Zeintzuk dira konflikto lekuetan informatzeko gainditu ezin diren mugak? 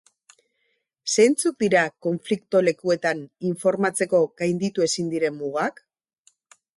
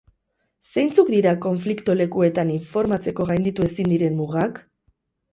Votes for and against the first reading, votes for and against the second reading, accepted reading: 2, 0, 2, 2, first